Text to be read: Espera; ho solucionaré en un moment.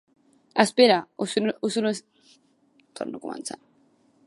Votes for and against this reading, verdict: 1, 2, rejected